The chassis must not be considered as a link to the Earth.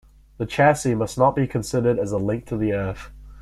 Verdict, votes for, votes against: accepted, 2, 0